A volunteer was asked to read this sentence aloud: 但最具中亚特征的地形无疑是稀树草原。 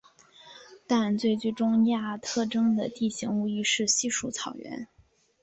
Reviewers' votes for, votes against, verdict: 3, 1, accepted